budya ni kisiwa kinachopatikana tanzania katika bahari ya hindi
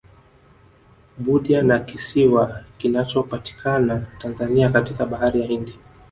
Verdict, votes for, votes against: rejected, 0, 2